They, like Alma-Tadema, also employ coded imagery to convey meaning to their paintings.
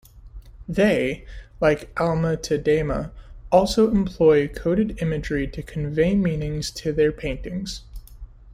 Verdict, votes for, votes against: rejected, 1, 2